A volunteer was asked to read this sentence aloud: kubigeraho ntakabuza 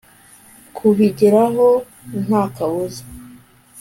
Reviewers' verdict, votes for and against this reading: accepted, 2, 0